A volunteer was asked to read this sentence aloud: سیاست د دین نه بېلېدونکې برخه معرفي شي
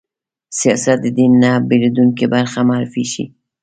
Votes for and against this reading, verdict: 2, 1, accepted